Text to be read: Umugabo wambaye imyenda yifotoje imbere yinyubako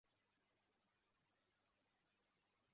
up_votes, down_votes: 0, 2